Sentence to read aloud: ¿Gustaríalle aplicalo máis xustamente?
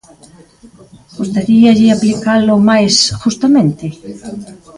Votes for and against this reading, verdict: 0, 4, rejected